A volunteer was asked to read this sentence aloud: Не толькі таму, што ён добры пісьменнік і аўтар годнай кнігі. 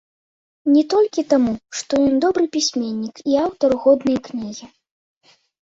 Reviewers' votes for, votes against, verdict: 2, 0, accepted